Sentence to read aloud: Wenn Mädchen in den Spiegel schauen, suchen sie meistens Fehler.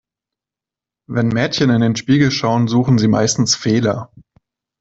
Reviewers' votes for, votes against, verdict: 2, 0, accepted